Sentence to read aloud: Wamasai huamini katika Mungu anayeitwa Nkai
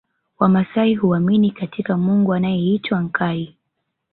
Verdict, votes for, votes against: accepted, 2, 1